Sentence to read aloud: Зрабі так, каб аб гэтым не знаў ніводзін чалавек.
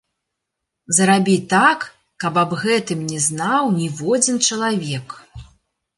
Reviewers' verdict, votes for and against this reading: accepted, 2, 1